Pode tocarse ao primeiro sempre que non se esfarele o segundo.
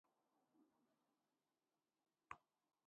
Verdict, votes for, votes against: rejected, 0, 2